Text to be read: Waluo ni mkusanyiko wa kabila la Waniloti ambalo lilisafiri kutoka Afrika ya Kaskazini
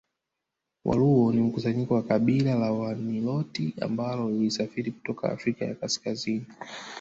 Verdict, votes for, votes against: rejected, 1, 2